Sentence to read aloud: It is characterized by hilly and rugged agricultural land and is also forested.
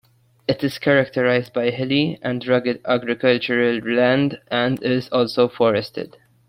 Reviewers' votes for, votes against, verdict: 2, 1, accepted